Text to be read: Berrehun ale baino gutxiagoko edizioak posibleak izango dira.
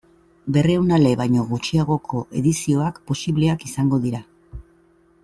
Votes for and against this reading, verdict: 2, 0, accepted